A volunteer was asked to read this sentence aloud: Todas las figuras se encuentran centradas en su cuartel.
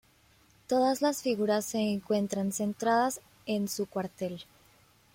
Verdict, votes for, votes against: accepted, 2, 1